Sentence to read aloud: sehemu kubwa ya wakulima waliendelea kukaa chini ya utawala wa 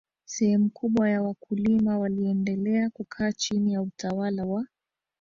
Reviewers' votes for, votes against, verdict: 0, 2, rejected